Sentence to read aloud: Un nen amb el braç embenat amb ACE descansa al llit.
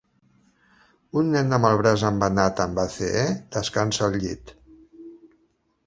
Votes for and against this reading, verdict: 4, 2, accepted